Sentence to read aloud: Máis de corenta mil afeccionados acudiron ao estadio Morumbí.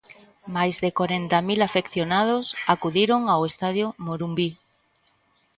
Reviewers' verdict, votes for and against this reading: accepted, 2, 0